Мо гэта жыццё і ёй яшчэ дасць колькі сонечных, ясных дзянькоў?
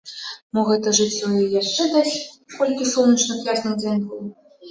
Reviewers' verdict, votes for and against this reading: rejected, 0, 2